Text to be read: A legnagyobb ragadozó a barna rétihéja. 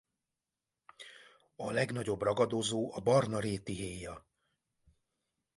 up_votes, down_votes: 2, 0